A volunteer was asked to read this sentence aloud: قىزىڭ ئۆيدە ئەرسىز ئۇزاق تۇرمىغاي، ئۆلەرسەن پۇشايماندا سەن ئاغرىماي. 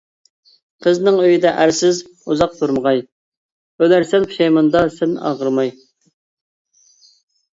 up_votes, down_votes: 2, 0